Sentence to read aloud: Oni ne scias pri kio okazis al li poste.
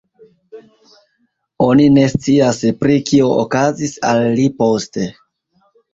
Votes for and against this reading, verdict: 2, 0, accepted